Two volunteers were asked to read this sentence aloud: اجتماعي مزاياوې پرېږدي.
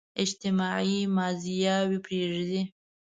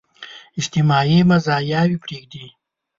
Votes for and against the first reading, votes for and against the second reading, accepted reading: 1, 2, 5, 1, second